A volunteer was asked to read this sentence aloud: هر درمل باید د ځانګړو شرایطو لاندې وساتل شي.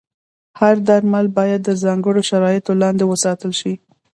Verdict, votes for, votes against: accepted, 2, 0